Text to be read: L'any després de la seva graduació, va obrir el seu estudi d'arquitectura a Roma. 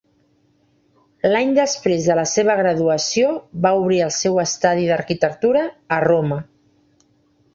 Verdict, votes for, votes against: rejected, 1, 2